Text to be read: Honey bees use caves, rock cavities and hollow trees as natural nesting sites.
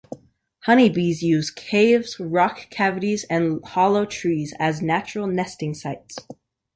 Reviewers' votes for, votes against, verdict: 2, 0, accepted